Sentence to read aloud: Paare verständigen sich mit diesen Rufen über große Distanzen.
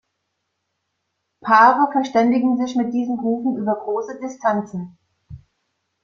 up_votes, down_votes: 2, 0